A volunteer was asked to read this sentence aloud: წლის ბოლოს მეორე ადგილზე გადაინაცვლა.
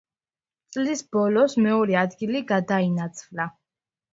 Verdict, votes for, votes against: rejected, 1, 2